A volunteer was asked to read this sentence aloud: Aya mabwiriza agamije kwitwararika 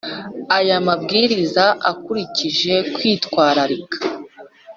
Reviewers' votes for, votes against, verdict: 0, 2, rejected